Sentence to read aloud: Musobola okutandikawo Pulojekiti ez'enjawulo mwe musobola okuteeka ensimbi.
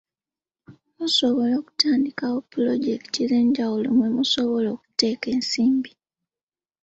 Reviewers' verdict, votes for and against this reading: rejected, 1, 2